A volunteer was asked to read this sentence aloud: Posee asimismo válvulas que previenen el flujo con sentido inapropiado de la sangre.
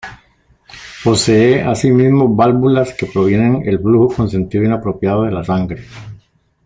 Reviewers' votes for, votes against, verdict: 0, 2, rejected